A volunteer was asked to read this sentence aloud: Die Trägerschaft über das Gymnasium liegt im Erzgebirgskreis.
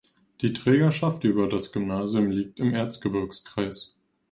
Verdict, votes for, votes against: accepted, 2, 0